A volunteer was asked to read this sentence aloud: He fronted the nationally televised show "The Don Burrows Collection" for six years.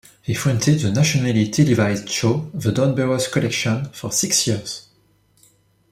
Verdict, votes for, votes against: accepted, 2, 0